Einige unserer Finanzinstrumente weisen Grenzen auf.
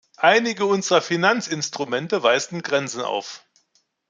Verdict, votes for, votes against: accepted, 2, 0